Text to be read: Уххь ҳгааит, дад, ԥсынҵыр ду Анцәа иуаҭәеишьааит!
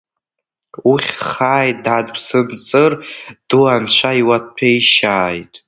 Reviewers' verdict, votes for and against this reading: rejected, 1, 2